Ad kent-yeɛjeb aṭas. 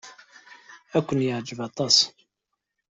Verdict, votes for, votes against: accepted, 2, 0